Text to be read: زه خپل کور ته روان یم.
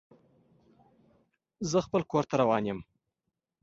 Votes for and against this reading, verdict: 2, 0, accepted